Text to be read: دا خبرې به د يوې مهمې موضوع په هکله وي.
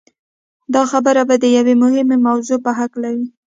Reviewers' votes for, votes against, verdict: 2, 0, accepted